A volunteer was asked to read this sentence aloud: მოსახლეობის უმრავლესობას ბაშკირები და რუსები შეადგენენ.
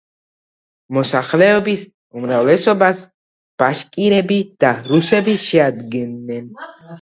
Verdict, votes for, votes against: rejected, 1, 2